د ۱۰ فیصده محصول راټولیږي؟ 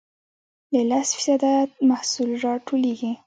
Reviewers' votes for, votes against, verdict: 0, 2, rejected